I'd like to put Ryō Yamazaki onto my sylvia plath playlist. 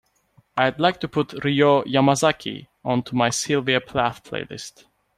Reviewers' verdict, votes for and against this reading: accepted, 2, 0